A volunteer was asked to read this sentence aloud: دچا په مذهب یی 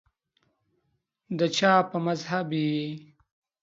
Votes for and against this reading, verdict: 2, 0, accepted